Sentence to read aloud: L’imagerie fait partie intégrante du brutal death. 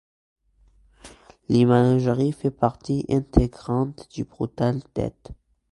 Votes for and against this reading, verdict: 2, 0, accepted